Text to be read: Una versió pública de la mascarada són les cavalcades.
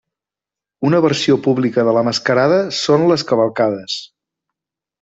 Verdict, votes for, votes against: accepted, 3, 0